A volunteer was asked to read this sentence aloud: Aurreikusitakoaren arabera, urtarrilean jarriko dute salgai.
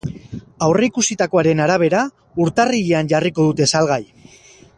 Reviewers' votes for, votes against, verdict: 2, 2, rejected